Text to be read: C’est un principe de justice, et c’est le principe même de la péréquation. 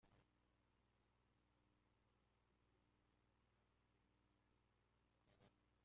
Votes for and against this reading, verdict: 0, 2, rejected